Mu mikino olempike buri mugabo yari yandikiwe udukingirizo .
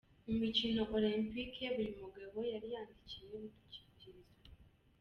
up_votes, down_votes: 2, 0